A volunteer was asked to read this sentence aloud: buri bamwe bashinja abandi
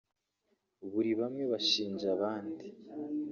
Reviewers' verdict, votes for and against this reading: rejected, 0, 2